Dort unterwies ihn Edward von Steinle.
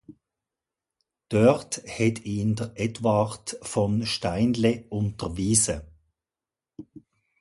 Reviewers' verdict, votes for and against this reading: rejected, 0, 2